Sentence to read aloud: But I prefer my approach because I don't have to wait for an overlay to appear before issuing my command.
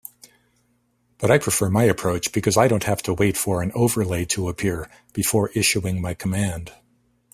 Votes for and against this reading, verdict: 2, 0, accepted